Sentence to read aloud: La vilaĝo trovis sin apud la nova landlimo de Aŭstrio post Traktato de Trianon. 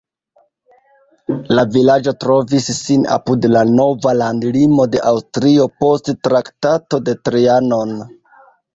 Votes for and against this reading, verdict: 1, 2, rejected